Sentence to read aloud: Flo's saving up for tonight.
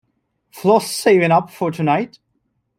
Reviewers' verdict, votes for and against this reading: accepted, 2, 0